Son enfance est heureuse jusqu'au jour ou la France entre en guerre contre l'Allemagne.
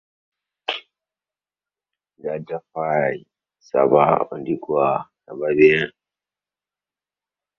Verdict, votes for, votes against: rejected, 0, 2